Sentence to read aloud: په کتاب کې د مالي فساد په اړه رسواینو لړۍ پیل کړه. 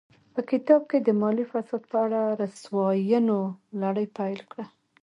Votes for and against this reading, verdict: 0, 2, rejected